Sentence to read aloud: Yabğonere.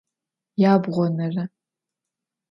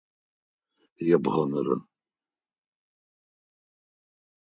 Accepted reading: first